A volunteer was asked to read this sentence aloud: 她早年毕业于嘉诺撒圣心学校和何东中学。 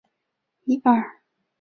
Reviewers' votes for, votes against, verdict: 0, 4, rejected